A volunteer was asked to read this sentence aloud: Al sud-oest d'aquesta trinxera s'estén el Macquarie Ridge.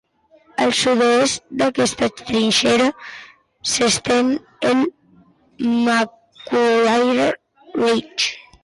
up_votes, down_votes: 1, 2